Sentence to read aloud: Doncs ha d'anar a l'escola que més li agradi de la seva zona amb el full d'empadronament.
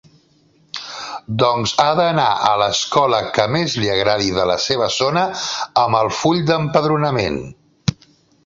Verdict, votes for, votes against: accepted, 2, 0